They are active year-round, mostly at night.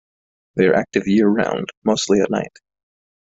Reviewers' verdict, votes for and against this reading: rejected, 1, 2